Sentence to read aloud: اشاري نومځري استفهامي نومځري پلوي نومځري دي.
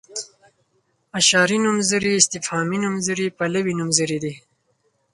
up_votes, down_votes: 4, 0